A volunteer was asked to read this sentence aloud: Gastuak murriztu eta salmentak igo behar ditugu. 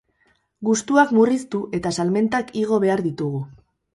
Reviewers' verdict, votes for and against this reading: rejected, 0, 4